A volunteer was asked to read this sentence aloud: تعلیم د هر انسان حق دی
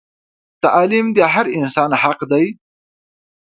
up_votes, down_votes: 2, 0